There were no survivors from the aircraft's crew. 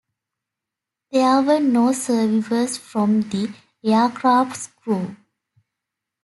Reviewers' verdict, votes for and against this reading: accepted, 2, 1